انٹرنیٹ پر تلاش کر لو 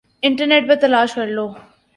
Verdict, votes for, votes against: accepted, 2, 0